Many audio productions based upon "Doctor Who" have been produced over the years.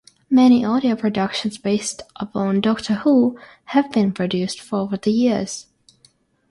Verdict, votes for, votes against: rejected, 3, 3